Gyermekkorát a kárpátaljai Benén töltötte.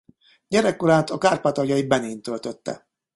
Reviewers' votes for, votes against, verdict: 0, 2, rejected